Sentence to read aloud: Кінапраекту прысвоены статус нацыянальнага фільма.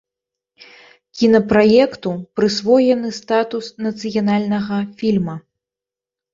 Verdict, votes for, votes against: accepted, 2, 0